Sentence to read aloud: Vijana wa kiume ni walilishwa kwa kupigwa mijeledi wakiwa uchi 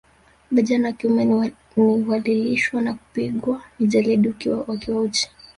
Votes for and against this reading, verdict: 2, 3, rejected